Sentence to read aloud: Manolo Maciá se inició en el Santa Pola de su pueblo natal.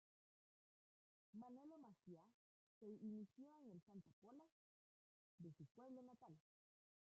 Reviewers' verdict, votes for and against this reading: rejected, 0, 2